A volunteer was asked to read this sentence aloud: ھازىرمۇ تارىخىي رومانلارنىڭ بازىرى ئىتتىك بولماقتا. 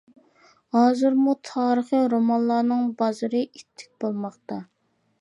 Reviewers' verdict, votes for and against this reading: accepted, 3, 0